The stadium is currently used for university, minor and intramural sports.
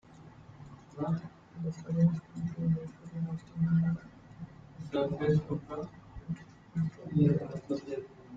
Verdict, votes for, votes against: rejected, 1, 2